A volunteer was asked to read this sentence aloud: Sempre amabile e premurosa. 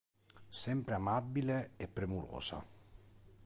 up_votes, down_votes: 3, 0